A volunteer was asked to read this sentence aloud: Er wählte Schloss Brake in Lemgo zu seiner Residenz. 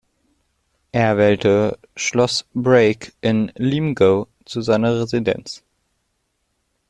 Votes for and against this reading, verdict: 0, 2, rejected